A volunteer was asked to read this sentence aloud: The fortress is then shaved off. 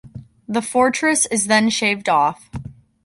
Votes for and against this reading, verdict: 1, 2, rejected